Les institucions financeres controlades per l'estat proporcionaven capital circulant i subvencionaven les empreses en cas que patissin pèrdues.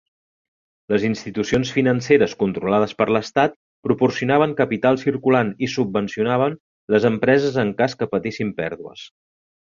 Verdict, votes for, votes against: accepted, 3, 0